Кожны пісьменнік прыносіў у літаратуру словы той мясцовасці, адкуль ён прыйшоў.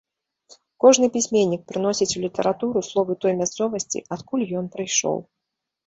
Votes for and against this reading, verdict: 1, 2, rejected